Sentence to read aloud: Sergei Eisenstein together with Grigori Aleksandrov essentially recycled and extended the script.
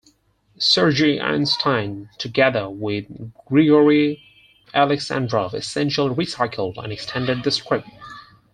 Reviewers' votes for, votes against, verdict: 0, 4, rejected